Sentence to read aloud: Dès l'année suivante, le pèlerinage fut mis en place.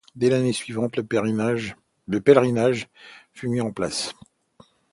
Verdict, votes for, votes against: rejected, 0, 2